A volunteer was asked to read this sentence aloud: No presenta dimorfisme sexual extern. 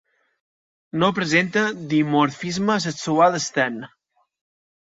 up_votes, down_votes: 2, 0